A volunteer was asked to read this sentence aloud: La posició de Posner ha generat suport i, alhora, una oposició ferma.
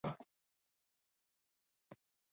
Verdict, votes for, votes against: rejected, 1, 2